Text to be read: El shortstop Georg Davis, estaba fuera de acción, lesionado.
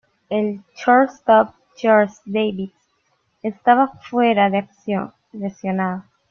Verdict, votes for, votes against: rejected, 0, 2